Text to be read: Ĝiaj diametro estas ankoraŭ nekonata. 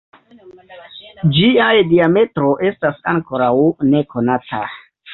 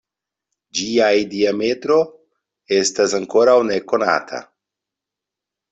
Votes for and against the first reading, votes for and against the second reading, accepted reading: 1, 3, 2, 0, second